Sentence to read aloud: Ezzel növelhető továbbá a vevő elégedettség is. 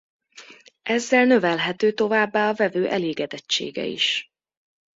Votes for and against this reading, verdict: 0, 2, rejected